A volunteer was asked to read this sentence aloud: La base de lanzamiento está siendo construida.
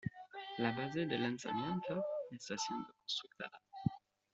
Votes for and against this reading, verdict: 2, 1, accepted